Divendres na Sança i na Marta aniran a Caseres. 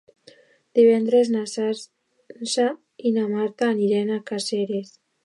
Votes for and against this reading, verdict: 0, 2, rejected